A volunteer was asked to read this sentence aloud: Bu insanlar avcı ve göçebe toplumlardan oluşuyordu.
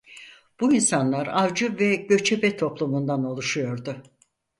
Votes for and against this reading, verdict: 2, 4, rejected